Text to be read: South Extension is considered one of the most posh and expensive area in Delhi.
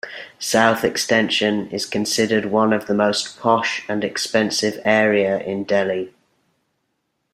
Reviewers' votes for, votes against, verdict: 2, 0, accepted